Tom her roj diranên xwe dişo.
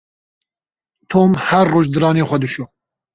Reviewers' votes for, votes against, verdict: 0, 2, rejected